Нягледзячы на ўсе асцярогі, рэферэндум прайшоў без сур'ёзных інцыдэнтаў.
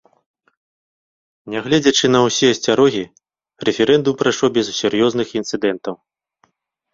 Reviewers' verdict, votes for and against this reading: accepted, 2, 0